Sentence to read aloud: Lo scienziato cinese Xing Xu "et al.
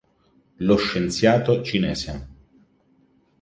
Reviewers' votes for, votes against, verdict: 0, 2, rejected